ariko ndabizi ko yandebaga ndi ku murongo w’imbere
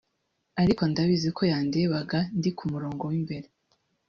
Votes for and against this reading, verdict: 2, 1, accepted